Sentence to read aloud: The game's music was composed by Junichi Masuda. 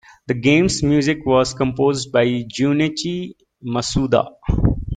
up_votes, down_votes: 2, 0